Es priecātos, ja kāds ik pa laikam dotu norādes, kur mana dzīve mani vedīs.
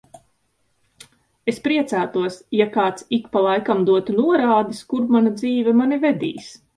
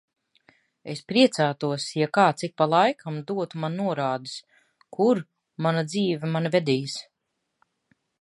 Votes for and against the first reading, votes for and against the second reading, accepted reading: 2, 0, 1, 2, first